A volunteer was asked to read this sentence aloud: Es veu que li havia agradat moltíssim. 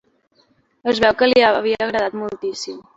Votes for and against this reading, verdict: 2, 0, accepted